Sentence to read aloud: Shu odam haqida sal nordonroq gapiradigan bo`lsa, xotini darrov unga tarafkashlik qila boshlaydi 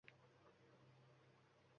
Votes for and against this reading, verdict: 1, 2, rejected